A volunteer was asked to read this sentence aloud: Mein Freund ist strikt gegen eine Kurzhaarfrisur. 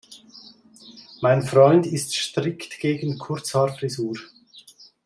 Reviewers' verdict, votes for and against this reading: rejected, 0, 2